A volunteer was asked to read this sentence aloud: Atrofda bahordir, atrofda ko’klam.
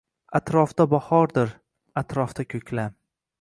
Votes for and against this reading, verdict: 2, 0, accepted